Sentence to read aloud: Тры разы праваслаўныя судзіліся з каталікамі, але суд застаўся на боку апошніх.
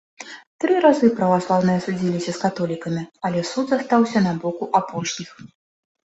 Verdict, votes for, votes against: accepted, 2, 0